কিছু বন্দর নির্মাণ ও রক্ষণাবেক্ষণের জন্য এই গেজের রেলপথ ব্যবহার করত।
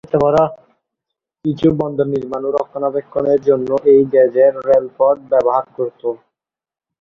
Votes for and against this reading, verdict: 0, 2, rejected